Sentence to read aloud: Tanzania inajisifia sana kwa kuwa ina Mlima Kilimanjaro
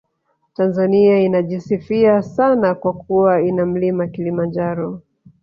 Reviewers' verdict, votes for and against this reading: rejected, 0, 2